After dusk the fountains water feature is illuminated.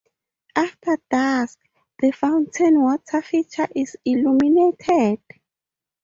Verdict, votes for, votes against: rejected, 0, 2